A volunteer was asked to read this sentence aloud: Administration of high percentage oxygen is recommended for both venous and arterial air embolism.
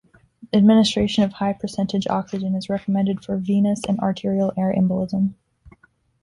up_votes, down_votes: 1, 2